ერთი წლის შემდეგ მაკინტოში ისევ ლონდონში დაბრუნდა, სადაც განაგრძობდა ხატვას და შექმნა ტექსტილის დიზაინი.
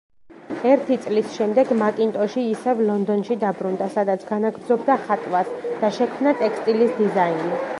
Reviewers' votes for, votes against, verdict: 2, 0, accepted